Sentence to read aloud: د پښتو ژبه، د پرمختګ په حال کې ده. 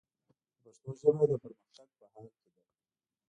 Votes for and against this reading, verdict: 0, 2, rejected